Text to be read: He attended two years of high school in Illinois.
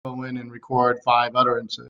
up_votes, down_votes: 0, 2